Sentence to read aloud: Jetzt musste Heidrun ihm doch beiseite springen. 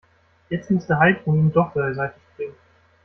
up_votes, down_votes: 1, 2